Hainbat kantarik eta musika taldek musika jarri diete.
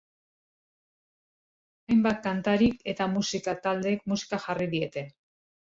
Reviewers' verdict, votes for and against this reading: accepted, 2, 0